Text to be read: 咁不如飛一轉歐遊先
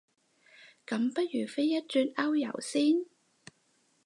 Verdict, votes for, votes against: accepted, 4, 0